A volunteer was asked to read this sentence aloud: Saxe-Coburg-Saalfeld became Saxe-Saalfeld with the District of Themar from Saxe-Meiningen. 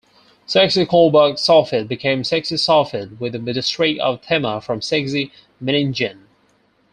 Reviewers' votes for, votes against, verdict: 0, 4, rejected